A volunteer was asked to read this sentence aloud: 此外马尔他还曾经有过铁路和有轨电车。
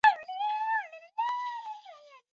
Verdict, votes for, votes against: rejected, 0, 2